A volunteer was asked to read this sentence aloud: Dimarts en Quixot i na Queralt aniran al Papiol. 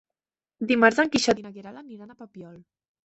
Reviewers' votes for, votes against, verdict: 2, 3, rejected